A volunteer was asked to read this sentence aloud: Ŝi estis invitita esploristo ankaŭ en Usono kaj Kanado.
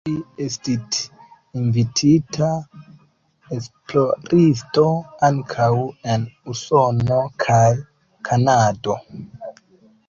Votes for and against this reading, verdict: 0, 2, rejected